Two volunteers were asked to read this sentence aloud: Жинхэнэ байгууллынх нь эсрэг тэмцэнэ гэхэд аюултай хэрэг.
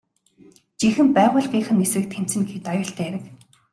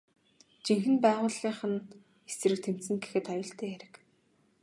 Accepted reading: second